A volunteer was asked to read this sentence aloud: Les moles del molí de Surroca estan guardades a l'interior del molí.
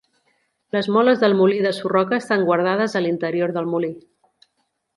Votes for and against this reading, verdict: 3, 0, accepted